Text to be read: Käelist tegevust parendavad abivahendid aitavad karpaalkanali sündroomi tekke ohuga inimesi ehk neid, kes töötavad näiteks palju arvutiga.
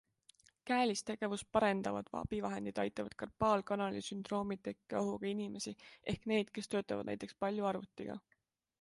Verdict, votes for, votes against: accepted, 2, 0